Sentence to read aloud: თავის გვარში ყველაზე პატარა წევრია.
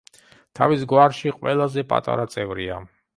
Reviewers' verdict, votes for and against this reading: accepted, 3, 0